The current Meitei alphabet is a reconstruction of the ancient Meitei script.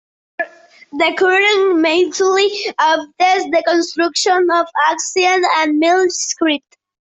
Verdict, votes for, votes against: rejected, 0, 2